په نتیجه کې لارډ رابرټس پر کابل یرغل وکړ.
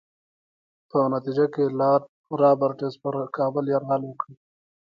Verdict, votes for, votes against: accepted, 2, 0